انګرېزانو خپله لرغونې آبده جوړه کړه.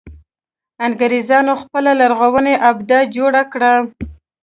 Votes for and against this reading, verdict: 2, 0, accepted